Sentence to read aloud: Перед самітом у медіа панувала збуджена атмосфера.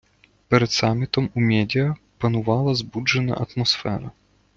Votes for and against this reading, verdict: 1, 2, rejected